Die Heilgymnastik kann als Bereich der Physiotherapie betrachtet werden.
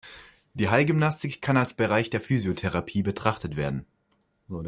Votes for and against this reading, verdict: 0, 2, rejected